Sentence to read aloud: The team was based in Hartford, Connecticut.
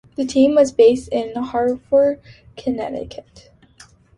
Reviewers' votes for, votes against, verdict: 3, 0, accepted